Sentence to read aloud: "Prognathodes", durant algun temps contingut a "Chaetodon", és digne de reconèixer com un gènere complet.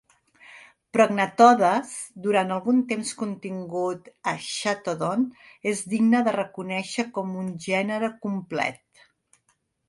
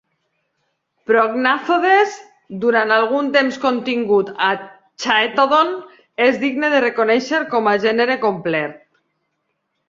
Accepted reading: first